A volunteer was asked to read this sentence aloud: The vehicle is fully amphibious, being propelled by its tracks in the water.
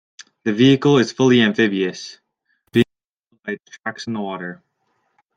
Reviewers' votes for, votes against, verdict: 1, 2, rejected